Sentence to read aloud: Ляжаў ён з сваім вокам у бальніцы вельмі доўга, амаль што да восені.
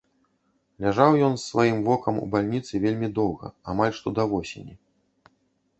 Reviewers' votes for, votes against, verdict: 0, 2, rejected